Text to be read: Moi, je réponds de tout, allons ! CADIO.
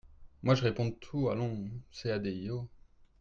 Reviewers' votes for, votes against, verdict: 2, 1, accepted